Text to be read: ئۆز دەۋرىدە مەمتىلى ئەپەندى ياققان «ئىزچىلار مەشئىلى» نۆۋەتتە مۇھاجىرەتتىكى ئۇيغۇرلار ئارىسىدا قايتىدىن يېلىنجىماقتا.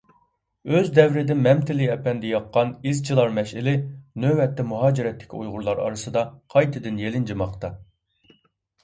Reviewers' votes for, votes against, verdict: 2, 0, accepted